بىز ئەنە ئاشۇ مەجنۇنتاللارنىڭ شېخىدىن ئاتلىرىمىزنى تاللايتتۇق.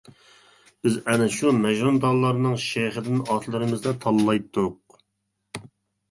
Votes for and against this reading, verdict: 0, 2, rejected